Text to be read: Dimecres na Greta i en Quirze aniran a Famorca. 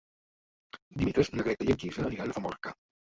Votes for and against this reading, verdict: 0, 2, rejected